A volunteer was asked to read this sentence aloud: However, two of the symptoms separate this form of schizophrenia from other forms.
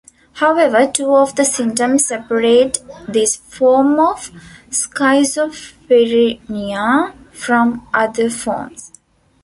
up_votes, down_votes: 0, 2